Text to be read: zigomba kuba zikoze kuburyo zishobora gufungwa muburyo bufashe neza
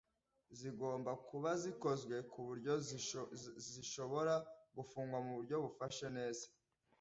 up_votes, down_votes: 1, 2